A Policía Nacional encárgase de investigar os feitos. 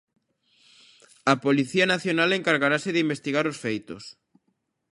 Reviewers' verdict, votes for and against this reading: rejected, 1, 2